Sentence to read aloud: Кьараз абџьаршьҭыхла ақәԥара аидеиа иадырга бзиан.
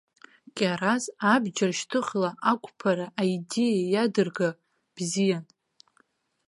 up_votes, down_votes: 1, 2